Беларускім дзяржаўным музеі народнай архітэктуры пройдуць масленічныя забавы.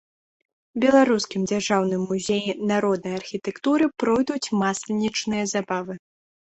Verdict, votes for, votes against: accepted, 2, 0